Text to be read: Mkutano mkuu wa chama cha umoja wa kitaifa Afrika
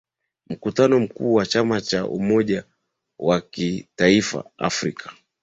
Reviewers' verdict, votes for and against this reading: accepted, 2, 0